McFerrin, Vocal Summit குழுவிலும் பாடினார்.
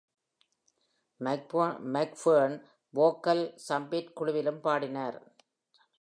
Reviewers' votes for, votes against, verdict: 0, 2, rejected